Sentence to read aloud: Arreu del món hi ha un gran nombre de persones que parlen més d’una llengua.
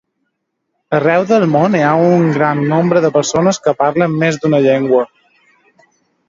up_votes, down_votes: 1, 3